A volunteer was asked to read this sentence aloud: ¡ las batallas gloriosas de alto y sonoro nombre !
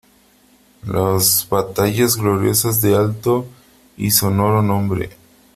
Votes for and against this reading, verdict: 3, 0, accepted